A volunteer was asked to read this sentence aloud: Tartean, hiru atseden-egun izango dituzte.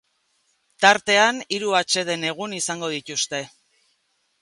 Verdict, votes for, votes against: accepted, 2, 0